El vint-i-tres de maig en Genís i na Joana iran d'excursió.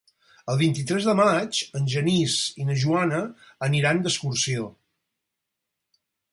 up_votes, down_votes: 0, 4